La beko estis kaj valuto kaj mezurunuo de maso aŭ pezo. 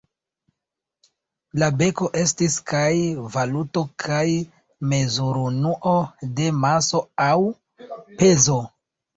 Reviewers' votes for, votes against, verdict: 2, 0, accepted